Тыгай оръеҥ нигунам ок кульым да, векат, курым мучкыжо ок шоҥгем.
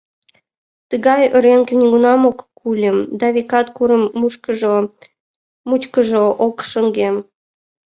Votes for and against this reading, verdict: 1, 2, rejected